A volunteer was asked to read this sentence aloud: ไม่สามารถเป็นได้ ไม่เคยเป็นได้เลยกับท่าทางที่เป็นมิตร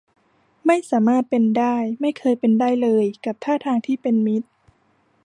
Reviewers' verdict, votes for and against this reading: accepted, 2, 0